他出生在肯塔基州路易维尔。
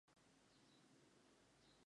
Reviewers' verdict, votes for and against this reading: rejected, 0, 2